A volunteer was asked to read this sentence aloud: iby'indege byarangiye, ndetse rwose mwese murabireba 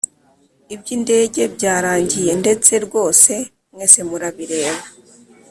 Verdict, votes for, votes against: accepted, 2, 0